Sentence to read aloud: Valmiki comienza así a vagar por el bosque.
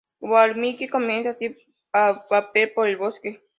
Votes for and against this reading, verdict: 0, 2, rejected